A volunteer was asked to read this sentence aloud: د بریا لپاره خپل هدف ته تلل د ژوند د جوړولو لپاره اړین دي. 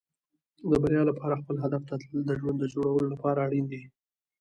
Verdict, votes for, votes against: accepted, 2, 1